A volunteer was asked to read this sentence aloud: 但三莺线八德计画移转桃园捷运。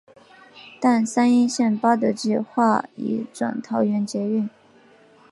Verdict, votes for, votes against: rejected, 1, 2